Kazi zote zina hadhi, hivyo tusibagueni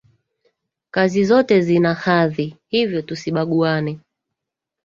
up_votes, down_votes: 2, 3